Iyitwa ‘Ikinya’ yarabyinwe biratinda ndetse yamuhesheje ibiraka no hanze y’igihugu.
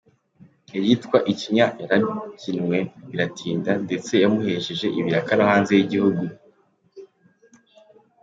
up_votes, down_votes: 2, 0